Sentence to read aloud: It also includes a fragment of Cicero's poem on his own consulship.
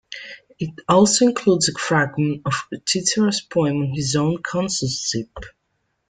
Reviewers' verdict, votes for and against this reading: rejected, 1, 2